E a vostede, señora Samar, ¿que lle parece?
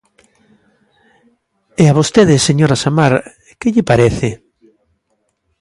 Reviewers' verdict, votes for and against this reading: accepted, 2, 0